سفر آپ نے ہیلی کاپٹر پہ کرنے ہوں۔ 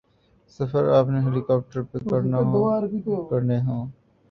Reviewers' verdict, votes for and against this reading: rejected, 2, 3